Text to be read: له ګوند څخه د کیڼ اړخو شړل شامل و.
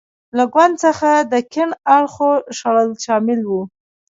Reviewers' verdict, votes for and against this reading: rejected, 0, 2